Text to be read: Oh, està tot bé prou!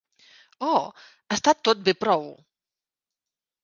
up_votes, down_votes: 2, 0